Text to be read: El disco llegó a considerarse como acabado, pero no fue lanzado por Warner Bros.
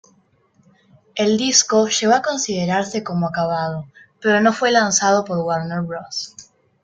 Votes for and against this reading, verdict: 2, 1, accepted